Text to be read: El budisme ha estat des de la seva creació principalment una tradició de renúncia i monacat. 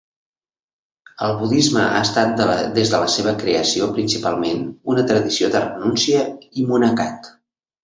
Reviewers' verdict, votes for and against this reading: rejected, 1, 2